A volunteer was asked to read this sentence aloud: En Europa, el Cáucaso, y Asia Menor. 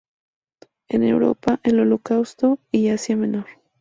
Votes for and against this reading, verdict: 0, 2, rejected